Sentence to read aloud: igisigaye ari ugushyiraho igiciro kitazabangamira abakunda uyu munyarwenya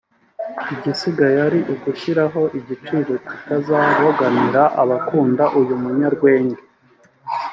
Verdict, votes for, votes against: rejected, 0, 2